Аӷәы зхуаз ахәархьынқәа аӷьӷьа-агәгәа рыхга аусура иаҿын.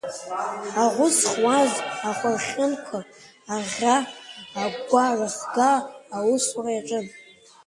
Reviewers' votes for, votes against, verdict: 2, 0, accepted